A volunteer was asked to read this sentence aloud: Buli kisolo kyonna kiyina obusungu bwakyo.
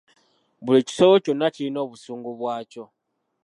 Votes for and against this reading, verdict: 2, 0, accepted